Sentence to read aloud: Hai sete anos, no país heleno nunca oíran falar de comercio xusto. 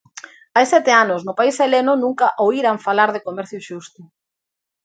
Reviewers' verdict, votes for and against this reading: accepted, 2, 0